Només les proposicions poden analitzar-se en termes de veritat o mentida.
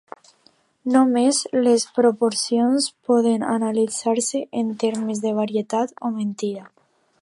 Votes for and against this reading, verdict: 1, 2, rejected